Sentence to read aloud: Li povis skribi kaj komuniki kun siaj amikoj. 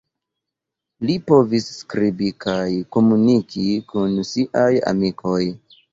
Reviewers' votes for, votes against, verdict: 2, 0, accepted